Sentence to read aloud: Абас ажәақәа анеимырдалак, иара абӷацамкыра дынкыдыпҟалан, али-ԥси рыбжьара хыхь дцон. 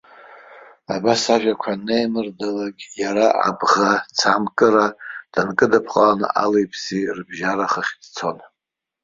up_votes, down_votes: 2, 0